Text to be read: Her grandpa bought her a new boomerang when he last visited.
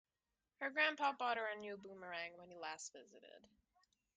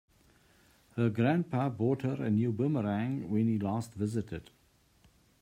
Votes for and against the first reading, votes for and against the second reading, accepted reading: 0, 2, 2, 0, second